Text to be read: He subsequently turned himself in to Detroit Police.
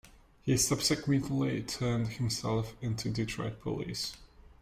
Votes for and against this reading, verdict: 0, 2, rejected